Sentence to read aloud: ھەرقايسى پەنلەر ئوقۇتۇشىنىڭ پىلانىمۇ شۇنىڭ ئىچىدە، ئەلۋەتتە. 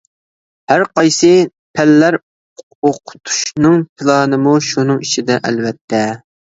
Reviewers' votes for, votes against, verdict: 0, 2, rejected